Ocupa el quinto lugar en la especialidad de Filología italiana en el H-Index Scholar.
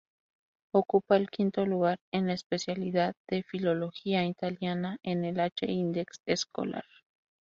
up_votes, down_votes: 2, 0